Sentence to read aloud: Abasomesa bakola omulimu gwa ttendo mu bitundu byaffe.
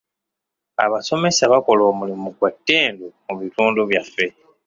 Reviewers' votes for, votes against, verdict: 2, 0, accepted